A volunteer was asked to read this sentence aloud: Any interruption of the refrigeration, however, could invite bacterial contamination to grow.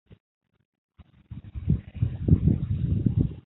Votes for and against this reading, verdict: 0, 2, rejected